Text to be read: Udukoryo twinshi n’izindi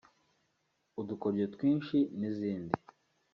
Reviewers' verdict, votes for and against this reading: accepted, 2, 0